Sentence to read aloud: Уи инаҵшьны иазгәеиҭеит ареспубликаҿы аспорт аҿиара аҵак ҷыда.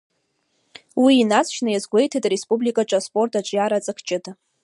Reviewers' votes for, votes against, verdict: 2, 0, accepted